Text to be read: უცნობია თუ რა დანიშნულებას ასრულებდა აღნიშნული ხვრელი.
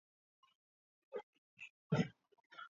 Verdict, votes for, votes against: rejected, 0, 3